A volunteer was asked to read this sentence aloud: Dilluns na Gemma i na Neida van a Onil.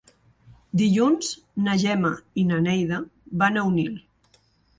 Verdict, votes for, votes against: accepted, 4, 0